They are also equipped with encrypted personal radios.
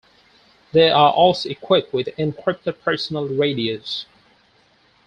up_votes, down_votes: 4, 0